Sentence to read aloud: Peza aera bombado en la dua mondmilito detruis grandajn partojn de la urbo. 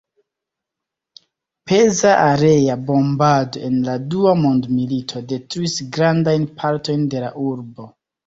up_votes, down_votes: 1, 2